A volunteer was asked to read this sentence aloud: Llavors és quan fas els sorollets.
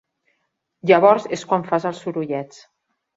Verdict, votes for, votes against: accepted, 3, 0